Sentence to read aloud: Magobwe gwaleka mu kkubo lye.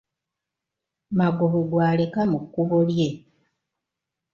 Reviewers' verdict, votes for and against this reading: accepted, 2, 1